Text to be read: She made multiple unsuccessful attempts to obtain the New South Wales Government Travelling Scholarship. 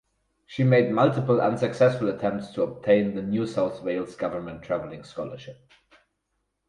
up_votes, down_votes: 2, 2